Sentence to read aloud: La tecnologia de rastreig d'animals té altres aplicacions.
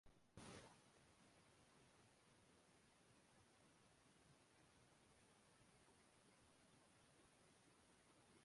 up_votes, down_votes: 0, 2